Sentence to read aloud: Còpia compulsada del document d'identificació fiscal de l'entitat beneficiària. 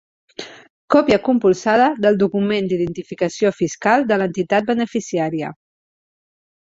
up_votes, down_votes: 3, 0